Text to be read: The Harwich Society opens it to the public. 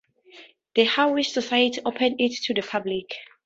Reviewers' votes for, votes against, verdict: 0, 2, rejected